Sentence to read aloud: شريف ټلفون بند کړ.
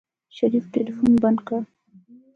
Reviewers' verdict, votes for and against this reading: accepted, 2, 0